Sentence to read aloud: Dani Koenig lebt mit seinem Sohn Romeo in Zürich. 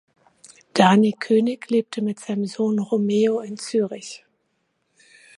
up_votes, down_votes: 1, 2